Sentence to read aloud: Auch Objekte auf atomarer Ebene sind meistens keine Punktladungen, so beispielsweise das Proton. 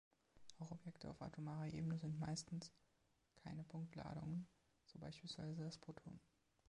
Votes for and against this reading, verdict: 1, 2, rejected